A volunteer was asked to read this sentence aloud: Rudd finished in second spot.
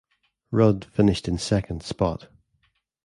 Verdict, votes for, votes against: accepted, 2, 0